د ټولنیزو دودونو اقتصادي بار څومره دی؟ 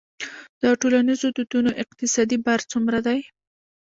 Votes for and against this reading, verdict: 0, 2, rejected